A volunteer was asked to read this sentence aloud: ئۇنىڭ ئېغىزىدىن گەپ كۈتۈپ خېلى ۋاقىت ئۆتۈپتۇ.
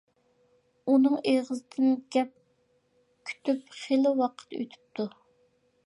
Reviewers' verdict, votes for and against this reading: accepted, 2, 0